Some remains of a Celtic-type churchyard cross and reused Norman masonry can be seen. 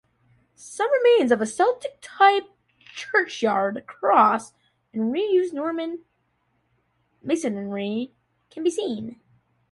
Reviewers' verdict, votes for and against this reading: rejected, 0, 2